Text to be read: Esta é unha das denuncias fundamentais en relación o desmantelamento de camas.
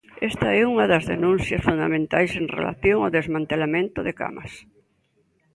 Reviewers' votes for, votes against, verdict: 3, 0, accepted